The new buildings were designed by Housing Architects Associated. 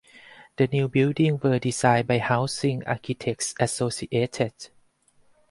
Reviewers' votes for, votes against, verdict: 2, 2, rejected